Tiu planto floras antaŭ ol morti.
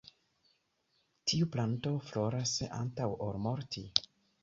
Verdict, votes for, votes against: accepted, 2, 1